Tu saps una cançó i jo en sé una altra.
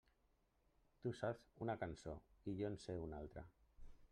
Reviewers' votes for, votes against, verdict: 3, 0, accepted